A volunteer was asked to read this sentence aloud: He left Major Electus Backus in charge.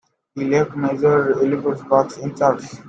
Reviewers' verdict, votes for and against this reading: rejected, 0, 2